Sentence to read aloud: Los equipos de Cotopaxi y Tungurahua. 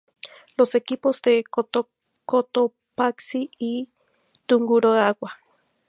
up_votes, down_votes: 0, 2